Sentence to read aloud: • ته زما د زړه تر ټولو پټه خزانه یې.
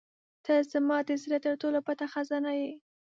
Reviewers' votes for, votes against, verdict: 2, 0, accepted